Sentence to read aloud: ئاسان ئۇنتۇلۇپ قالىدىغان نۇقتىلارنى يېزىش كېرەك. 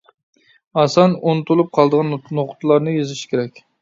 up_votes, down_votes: 0, 2